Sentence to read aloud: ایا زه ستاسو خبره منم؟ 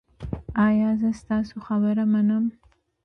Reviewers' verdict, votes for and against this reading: accepted, 3, 0